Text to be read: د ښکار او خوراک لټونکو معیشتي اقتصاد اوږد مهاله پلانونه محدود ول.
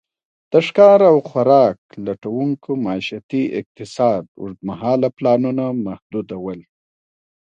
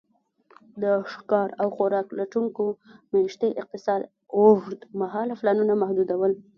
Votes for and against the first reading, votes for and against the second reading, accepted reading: 2, 0, 1, 2, first